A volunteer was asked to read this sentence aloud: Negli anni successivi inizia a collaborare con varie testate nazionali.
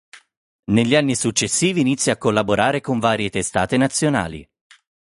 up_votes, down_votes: 4, 0